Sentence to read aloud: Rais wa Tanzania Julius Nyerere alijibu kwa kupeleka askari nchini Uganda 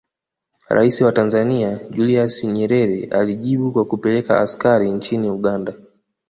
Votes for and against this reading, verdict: 2, 0, accepted